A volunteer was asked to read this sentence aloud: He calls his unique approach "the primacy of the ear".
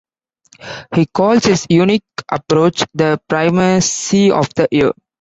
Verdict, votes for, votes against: accepted, 2, 1